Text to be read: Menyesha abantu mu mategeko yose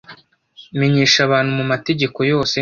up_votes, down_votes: 1, 2